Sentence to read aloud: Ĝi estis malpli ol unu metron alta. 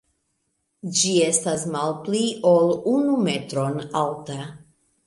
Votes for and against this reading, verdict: 0, 2, rejected